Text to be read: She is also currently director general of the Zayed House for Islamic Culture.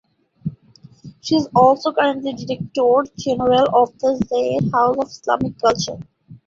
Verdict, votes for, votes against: rejected, 1, 2